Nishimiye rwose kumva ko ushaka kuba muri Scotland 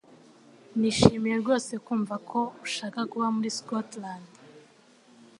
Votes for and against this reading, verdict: 2, 0, accepted